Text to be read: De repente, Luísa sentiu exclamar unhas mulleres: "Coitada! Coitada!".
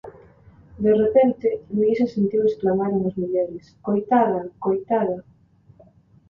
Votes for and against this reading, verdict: 2, 0, accepted